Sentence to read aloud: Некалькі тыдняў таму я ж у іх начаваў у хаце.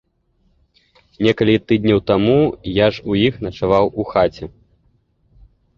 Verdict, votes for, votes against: rejected, 0, 2